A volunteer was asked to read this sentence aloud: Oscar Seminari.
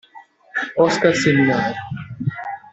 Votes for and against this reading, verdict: 0, 2, rejected